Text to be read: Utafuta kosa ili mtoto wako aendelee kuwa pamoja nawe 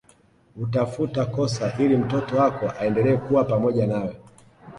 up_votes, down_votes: 1, 2